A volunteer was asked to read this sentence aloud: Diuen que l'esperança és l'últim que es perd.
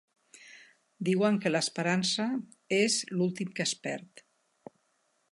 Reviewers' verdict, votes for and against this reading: accepted, 4, 0